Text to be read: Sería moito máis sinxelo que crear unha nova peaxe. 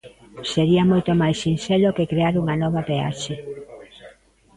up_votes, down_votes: 1, 2